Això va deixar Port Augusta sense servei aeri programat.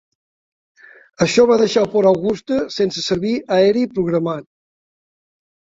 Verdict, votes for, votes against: rejected, 0, 2